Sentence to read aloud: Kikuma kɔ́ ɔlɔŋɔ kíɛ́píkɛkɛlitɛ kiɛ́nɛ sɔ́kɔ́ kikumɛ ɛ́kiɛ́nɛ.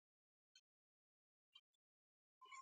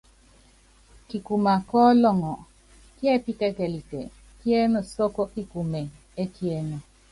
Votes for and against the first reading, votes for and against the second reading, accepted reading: 1, 2, 2, 0, second